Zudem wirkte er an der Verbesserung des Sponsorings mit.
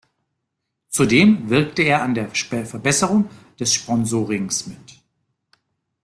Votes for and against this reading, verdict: 0, 2, rejected